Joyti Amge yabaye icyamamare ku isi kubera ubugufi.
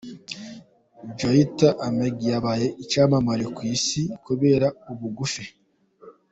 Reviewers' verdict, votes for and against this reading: accepted, 2, 0